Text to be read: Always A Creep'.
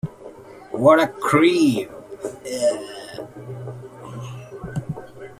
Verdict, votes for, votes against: rejected, 0, 2